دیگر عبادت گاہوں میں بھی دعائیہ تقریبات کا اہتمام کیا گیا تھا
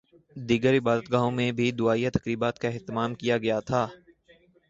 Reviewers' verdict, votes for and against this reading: accepted, 4, 0